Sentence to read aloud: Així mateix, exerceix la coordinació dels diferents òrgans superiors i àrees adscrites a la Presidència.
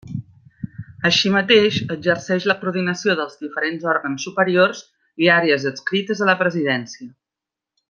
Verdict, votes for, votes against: accepted, 2, 1